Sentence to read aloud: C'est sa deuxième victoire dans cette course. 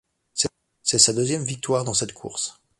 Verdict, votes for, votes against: rejected, 0, 2